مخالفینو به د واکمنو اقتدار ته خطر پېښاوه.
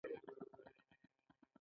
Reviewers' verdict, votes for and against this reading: rejected, 1, 2